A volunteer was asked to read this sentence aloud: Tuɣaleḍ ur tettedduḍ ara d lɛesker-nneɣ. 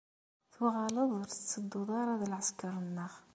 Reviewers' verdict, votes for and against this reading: accepted, 2, 0